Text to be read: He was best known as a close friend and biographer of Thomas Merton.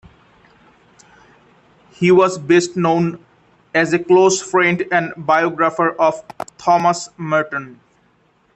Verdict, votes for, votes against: accepted, 2, 1